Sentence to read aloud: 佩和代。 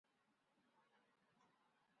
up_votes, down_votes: 0, 2